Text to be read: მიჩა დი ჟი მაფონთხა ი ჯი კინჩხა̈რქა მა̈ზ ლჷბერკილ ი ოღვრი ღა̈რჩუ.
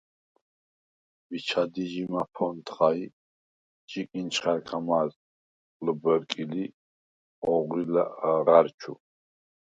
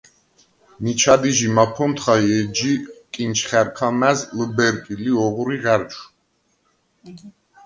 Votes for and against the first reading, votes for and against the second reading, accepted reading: 0, 4, 2, 0, second